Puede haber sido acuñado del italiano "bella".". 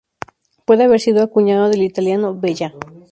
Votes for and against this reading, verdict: 2, 0, accepted